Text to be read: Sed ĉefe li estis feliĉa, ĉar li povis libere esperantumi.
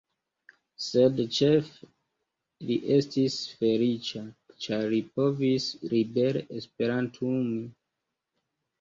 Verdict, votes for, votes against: rejected, 0, 2